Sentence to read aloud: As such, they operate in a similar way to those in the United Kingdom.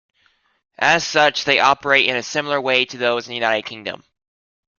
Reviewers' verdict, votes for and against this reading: accepted, 2, 0